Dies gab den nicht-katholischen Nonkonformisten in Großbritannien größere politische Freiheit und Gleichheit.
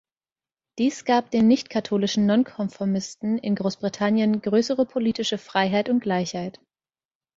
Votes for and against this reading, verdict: 2, 0, accepted